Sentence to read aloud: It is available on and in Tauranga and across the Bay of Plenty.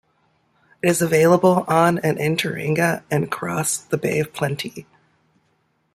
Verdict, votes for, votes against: accepted, 2, 0